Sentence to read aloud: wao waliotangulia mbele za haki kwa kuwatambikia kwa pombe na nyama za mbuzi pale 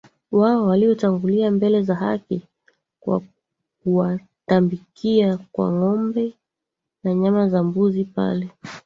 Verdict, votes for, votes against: rejected, 0, 2